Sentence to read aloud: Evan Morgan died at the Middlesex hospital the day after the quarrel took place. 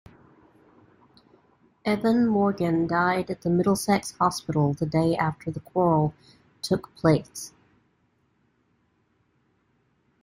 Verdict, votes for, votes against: accepted, 2, 0